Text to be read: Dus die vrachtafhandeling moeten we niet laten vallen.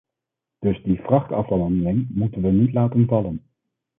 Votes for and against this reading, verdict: 2, 3, rejected